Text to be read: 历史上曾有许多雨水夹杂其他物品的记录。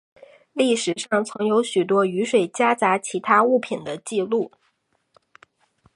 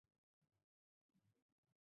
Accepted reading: first